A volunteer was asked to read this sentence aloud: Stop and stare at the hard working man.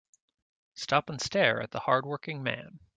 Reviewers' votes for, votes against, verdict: 2, 0, accepted